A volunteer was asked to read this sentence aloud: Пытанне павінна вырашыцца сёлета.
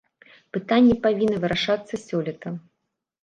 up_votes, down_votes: 1, 2